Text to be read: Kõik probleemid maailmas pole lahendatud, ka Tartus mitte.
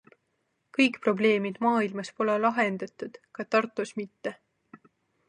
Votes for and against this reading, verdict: 2, 0, accepted